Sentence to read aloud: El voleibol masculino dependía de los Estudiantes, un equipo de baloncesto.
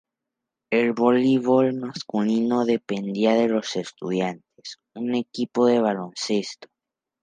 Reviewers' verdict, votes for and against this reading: rejected, 0, 4